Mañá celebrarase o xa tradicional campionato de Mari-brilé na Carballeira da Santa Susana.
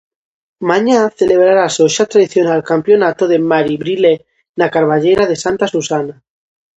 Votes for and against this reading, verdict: 0, 2, rejected